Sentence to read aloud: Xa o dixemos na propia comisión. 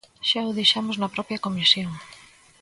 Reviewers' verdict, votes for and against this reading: accepted, 2, 0